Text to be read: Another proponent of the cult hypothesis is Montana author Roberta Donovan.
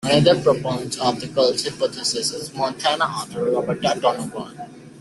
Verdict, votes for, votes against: rejected, 0, 2